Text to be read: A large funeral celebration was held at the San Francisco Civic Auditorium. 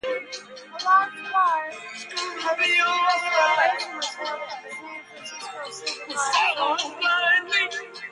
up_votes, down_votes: 0, 2